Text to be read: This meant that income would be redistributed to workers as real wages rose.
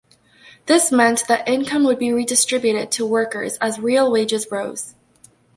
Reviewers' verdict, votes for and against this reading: rejected, 1, 2